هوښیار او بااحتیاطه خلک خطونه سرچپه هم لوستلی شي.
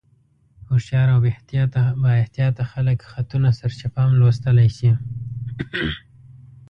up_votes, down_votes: 1, 2